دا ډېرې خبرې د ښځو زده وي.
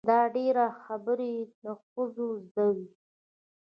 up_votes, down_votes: 0, 2